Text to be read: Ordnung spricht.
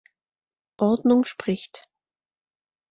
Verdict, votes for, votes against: accepted, 2, 0